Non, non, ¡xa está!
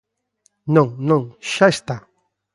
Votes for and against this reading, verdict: 2, 0, accepted